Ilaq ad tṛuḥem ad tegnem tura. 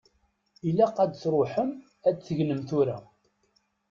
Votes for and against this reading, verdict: 1, 2, rejected